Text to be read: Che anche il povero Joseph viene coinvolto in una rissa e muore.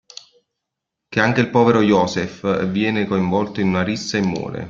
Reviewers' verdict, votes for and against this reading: accepted, 2, 0